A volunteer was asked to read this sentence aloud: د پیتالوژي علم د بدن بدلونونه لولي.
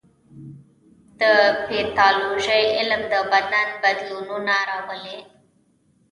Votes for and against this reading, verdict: 2, 0, accepted